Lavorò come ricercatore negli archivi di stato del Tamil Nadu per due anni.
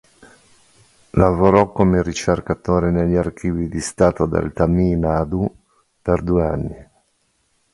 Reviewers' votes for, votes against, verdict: 0, 2, rejected